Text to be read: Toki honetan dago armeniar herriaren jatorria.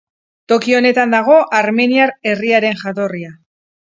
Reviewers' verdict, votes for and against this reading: accepted, 4, 0